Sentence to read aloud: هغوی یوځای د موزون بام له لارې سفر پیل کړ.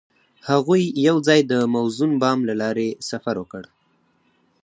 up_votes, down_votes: 4, 0